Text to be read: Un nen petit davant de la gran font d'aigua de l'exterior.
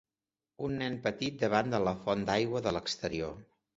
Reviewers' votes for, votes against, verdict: 1, 2, rejected